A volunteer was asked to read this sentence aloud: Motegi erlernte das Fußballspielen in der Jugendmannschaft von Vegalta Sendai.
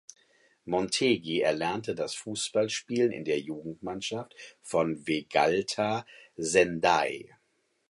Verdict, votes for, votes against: rejected, 0, 4